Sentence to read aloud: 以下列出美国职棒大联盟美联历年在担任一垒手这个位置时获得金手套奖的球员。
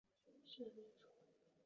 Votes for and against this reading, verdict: 0, 2, rejected